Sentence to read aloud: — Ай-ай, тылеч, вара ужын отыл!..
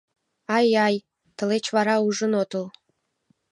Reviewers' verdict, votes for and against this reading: accepted, 2, 0